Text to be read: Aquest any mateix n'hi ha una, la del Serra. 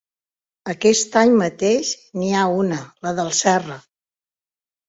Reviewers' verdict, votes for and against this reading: accepted, 2, 0